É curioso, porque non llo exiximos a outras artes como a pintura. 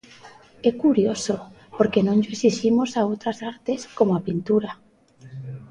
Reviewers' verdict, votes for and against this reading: accepted, 2, 0